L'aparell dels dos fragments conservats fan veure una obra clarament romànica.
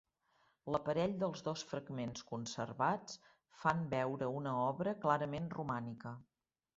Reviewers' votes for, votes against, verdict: 3, 0, accepted